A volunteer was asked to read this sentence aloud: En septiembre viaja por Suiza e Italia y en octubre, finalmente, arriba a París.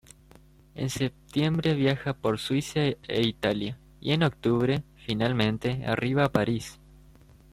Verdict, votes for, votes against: rejected, 1, 2